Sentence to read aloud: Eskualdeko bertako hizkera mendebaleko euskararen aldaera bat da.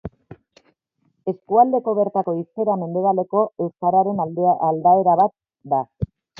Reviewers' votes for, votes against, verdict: 1, 2, rejected